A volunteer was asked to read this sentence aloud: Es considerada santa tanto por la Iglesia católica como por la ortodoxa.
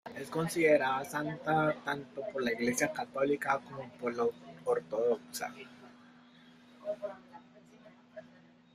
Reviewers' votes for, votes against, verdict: 1, 2, rejected